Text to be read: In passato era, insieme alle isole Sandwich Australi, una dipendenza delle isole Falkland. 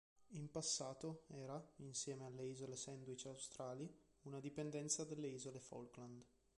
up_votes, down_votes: 0, 2